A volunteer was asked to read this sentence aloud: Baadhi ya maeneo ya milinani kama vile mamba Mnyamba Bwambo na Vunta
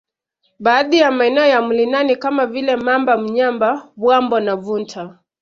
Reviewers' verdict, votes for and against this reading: accepted, 2, 0